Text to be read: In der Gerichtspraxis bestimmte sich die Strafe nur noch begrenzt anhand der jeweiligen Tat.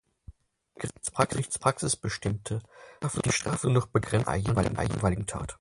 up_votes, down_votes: 0, 4